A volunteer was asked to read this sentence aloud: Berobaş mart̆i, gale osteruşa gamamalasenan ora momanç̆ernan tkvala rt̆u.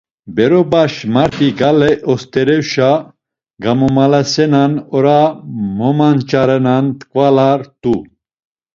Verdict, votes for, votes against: rejected, 1, 2